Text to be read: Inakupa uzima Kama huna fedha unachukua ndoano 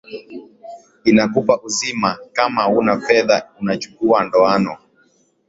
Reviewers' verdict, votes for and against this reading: accepted, 2, 1